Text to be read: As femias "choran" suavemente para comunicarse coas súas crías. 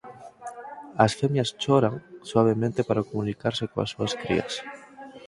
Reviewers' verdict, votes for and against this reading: accepted, 4, 0